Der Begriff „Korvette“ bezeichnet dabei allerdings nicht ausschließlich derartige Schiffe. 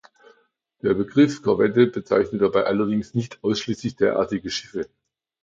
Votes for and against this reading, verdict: 2, 0, accepted